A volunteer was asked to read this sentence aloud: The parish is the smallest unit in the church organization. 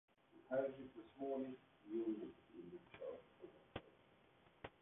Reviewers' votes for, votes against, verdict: 0, 2, rejected